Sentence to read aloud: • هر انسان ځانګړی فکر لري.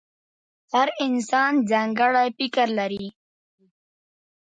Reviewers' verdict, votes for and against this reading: accepted, 2, 0